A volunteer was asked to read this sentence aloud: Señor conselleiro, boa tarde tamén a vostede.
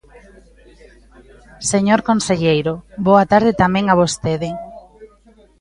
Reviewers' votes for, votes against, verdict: 1, 2, rejected